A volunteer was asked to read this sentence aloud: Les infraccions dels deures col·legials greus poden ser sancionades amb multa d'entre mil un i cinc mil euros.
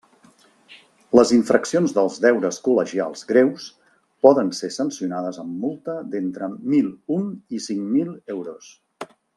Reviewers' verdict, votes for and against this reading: accepted, 3, 0